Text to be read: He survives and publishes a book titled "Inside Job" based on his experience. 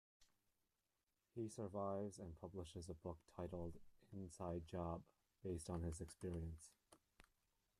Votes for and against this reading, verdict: 1, 2, rejected